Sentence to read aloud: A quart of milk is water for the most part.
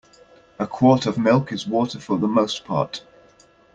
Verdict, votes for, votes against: accepted, 2, 0